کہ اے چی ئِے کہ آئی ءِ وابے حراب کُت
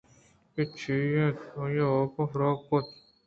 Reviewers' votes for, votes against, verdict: 2, 0, accepted